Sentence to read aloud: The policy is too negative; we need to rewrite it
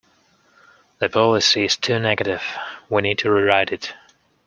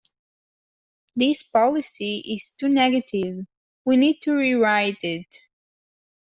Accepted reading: first